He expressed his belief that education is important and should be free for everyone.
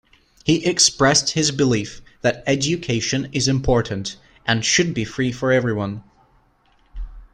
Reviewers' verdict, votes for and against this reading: accepted, 3, 0